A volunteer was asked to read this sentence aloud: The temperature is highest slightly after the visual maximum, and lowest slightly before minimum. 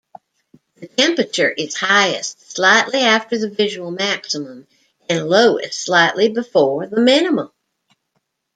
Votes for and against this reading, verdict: 2, 1, accepted